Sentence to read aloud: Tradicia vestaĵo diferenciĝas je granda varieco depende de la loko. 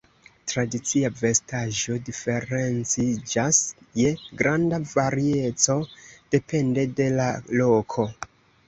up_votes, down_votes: 2, 0